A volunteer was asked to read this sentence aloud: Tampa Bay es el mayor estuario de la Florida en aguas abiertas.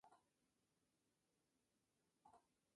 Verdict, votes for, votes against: rejected, 0, 2